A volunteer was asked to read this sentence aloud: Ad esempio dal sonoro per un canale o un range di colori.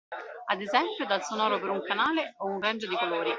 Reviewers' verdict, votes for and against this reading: rejected, 1, 2